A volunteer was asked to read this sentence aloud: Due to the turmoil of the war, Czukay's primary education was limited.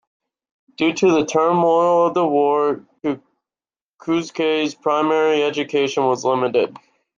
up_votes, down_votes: 0, 2